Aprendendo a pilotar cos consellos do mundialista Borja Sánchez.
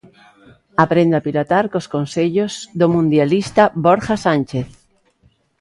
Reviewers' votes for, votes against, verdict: 1, 2, rejected